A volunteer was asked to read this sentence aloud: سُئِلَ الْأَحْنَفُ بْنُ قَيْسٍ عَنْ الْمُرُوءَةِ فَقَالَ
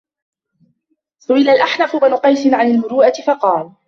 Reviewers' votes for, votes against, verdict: 2, 0, accepted